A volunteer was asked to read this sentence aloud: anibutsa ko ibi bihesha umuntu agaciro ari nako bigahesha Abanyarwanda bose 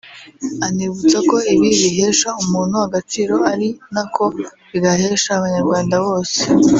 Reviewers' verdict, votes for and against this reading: rejected, 0, 2